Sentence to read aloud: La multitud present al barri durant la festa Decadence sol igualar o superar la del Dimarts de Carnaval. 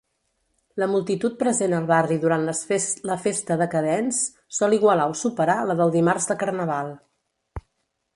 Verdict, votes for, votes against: rejected, 1, 3